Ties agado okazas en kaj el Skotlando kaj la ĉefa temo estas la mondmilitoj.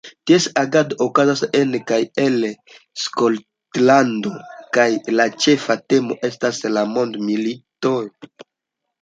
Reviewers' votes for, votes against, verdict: 2, 0, accepted